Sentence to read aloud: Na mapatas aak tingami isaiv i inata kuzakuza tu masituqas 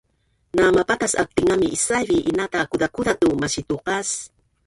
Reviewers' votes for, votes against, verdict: 1, 2, rejected